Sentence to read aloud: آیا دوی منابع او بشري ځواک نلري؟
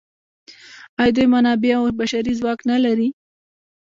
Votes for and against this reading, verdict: 1, 2, rejected